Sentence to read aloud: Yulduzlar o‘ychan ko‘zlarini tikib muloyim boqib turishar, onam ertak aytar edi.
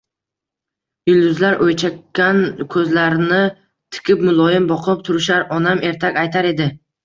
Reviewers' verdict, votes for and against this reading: accepted, 2, 0